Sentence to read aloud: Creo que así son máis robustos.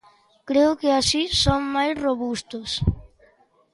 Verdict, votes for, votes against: accepted, 2, 0